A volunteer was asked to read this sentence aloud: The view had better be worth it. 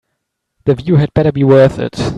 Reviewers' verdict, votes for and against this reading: accepted, 2, 0